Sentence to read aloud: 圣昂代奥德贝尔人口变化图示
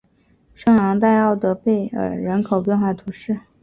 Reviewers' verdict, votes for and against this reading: accepted, 2, 0